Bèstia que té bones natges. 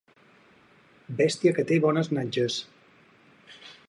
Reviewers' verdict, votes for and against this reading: accepted, 6, 0